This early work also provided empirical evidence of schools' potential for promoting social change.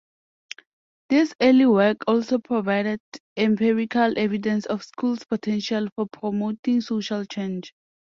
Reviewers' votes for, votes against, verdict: 2, 0, accepted